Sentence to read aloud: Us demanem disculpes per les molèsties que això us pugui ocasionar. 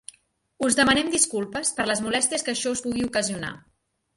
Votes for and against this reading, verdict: 2, 0, accepted